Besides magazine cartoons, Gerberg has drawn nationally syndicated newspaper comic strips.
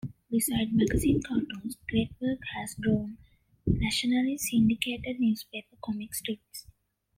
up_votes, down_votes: 1, 2